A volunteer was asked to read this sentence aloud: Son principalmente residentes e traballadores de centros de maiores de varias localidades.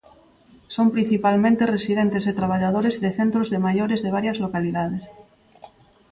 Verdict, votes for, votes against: accepted, 2, 0